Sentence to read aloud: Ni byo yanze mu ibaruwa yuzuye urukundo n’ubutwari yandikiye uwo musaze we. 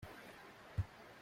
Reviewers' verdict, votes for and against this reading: rejected, 0, 2